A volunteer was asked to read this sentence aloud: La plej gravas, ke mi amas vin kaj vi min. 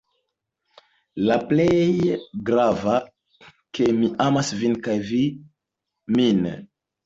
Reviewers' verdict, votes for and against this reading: accepted, 2, 0